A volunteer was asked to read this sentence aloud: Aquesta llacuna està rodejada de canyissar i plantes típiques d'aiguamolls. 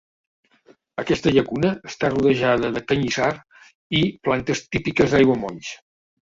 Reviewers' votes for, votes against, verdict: 0, 2, rejected